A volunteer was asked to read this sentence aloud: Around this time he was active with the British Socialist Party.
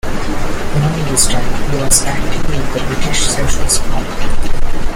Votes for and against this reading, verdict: 1, 2, rejected